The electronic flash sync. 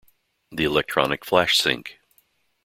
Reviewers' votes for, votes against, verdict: 2, 0, accepted